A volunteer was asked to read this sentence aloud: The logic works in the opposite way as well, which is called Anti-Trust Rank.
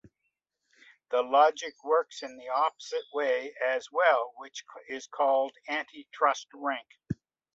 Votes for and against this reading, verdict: 2, 0, accepted